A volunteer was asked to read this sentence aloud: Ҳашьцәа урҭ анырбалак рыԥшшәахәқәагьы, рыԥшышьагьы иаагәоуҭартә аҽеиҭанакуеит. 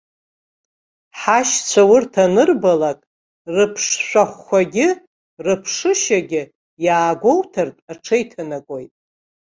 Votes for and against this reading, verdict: 2, 0, accepted